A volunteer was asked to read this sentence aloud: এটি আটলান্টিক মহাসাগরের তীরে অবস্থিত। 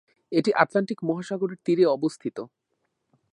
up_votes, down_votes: 2, 0